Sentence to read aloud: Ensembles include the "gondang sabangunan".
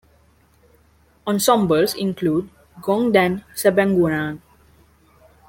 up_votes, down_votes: 0, 2